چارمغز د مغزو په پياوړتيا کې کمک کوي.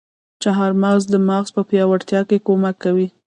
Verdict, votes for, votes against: rejected, 1, 2